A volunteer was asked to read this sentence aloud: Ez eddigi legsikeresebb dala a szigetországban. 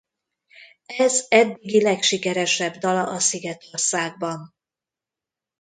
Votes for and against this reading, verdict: 0, 2, rejected